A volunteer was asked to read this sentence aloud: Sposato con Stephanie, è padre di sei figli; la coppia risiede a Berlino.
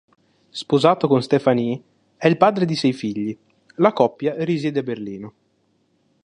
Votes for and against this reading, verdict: 2, 3, rejected